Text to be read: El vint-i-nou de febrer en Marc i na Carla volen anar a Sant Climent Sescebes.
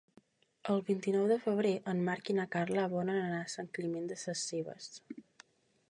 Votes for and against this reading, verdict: 0, 2, rejected